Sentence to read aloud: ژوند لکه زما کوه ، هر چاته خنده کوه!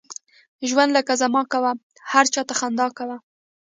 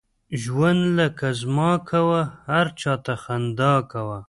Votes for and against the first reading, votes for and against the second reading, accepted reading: 3, 0, 0, 2, first